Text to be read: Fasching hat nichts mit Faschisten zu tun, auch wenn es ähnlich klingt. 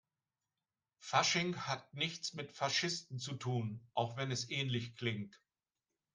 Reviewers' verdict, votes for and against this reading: accepted, 3, 1